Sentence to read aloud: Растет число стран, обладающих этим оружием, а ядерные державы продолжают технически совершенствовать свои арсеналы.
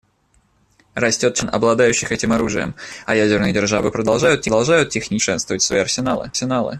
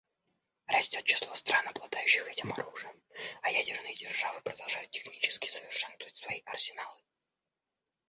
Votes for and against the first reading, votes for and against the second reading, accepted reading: 0, 2, 2, 0, second